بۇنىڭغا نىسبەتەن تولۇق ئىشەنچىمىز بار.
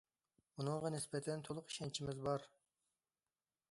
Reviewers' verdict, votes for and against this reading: accepted, 2, 0